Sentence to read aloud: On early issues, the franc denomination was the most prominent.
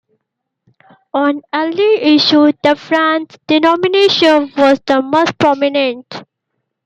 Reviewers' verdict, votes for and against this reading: accepted, 2, 1